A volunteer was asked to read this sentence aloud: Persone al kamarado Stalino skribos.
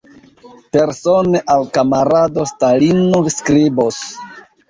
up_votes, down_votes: 1, 2